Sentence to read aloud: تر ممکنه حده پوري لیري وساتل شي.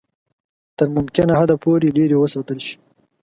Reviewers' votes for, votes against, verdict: 2, 0, accepted